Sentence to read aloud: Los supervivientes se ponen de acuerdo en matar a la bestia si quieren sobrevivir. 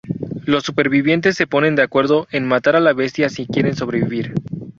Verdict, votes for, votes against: accepted, 2, 0